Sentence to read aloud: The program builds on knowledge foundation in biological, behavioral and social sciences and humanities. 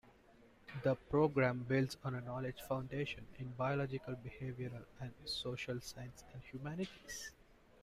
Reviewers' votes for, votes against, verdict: 0, 2, rejected